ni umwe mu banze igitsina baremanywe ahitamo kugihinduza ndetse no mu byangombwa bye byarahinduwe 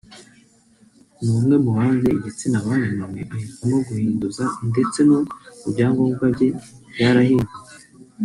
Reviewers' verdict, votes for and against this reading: rejected, 1, 2